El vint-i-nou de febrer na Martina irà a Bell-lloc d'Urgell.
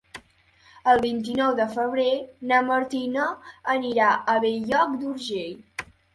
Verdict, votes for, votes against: rejected, 1, 2